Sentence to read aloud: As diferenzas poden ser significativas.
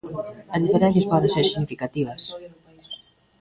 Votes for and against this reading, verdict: 1, 2, rejected